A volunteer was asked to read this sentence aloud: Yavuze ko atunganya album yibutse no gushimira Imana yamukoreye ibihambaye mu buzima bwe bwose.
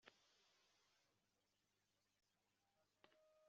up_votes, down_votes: 0, 2